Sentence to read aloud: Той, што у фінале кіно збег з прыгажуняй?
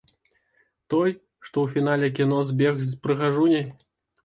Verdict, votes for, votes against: accepted, 2, 0